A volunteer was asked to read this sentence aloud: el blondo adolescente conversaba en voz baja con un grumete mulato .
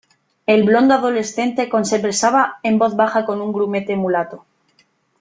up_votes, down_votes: 0, 3